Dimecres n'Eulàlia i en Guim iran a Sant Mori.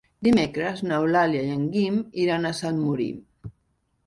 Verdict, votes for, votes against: rejected, 1, 2